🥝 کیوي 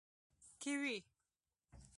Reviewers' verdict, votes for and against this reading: rejected, 0, 2